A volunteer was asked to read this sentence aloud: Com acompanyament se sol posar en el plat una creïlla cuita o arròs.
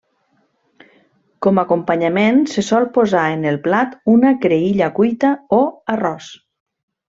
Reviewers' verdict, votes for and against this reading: accepted, 2, 0